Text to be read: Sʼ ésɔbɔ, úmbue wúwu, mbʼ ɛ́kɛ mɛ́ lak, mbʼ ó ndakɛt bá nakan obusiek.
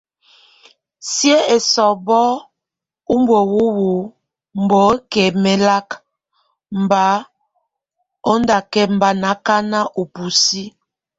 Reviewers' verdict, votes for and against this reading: rejected, 1, 2